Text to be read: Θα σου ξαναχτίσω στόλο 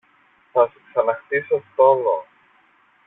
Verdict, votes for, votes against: rejected, 0, 2